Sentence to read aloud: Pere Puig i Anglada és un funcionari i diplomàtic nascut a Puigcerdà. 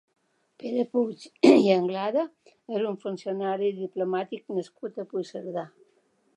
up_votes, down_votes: 2, 1